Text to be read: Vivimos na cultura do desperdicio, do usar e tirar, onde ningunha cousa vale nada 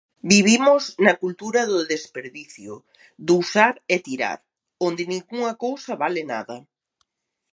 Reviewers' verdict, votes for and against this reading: accepted, 2, 0